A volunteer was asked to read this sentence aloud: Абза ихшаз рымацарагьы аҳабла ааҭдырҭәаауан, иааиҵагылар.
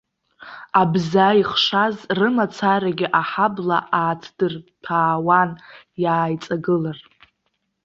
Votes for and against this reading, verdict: 1, 2, rejected